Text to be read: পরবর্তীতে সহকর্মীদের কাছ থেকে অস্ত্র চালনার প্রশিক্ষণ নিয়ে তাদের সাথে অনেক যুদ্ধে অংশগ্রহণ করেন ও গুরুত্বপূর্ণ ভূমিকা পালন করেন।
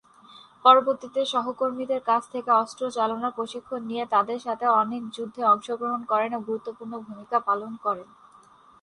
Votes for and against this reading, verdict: 0, 2, rejected